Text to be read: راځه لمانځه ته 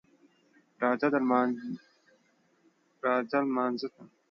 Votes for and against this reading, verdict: 1, 2, rejected